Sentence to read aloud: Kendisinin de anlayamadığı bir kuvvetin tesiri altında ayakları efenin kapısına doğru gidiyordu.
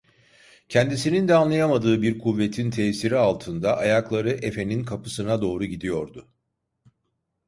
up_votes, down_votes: 2, 0